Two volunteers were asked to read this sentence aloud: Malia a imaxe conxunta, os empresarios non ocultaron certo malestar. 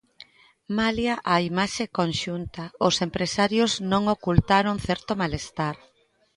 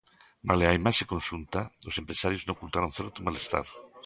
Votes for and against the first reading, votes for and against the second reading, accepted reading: 2, 0, 0, 2, first